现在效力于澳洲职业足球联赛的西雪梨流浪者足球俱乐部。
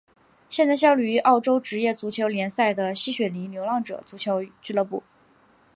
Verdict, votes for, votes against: accepted, 3, 0